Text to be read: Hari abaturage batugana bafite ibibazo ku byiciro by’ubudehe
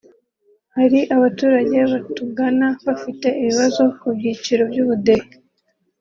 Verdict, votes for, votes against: rejected, 1, 2